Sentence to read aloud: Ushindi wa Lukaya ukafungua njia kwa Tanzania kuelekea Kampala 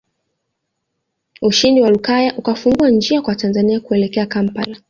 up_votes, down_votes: 2, 1